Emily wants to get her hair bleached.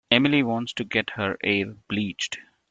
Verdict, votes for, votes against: rejected, 0, 2